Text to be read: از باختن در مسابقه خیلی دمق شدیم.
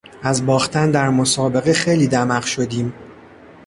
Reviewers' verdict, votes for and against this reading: accepted, 2, 0